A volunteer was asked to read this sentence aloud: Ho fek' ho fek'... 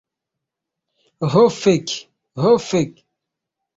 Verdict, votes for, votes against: accepted, 3, 0